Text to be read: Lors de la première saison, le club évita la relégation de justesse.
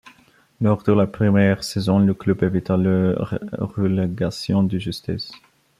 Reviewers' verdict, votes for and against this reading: rejected, 0, 2